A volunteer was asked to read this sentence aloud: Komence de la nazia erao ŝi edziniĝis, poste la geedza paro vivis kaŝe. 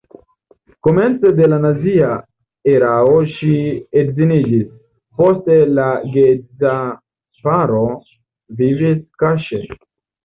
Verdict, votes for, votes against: rejected, 2, 3